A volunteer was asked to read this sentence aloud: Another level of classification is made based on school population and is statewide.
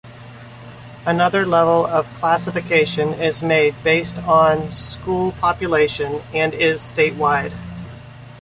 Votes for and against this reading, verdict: 1, 2, rejected